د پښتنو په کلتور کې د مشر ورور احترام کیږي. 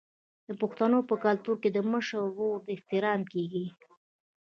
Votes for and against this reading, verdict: 1, 2, rejected